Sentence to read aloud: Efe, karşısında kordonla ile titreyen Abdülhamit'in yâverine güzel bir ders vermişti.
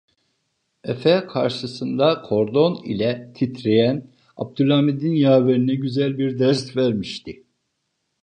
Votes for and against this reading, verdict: 1, 2, rejected